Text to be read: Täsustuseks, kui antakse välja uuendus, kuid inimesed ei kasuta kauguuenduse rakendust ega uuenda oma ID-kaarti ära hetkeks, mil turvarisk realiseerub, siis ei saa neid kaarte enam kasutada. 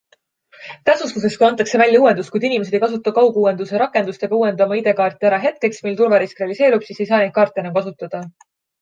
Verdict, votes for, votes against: accepted, 2, 0